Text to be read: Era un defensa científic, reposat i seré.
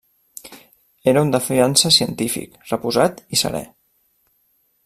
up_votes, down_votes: 1, 2